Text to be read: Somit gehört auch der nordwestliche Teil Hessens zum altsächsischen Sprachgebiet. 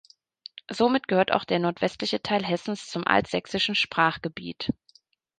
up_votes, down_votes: 2, 0